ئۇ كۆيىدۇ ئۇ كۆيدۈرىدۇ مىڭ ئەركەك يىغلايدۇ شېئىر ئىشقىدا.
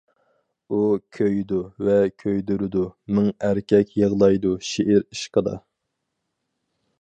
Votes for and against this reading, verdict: 2, 2, rejected